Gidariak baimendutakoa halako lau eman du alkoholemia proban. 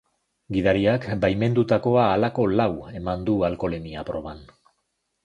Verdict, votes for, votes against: accepted, 3, 0